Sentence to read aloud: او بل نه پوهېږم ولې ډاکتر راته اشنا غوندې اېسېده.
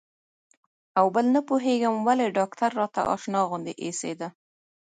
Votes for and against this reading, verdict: 2, 0, accepted